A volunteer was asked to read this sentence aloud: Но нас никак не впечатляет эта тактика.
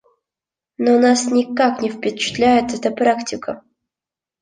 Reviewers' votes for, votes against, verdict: 0, 2, rejected